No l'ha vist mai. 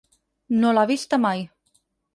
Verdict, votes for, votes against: rejected, 0, 4